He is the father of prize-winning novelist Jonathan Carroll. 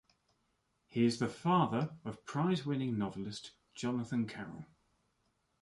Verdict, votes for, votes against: accepted, 2, 0